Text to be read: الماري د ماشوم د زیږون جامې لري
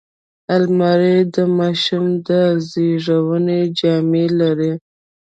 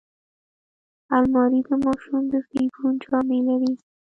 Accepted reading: second